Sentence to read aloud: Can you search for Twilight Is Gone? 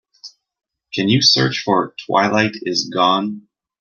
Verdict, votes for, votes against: accepted, 2, 0